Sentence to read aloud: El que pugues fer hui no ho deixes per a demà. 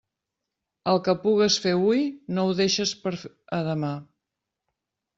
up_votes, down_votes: 1, 2